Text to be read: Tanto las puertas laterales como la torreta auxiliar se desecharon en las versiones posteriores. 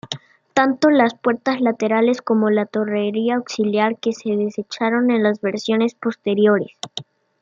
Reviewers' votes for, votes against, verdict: 2, 0, accepted